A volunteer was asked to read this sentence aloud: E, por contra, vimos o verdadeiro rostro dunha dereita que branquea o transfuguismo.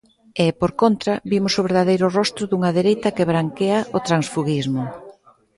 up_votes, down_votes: 1, 2